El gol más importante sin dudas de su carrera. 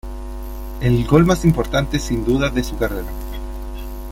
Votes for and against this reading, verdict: 2, 0, accepted